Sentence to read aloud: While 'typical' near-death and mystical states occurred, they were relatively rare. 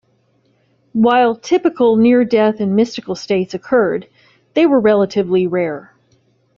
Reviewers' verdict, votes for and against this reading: accepted, 2, 0